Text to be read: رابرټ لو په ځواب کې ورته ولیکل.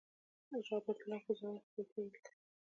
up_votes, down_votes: 1, 2